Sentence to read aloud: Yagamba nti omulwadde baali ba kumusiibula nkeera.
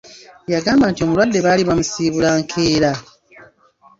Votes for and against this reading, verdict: 1, 2, rejected